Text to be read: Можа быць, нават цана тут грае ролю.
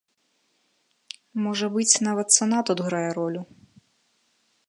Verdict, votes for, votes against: accepted, 2, 0